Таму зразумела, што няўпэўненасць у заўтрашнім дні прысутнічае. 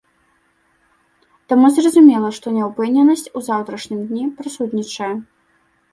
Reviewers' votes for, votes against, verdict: 0, 2, rejected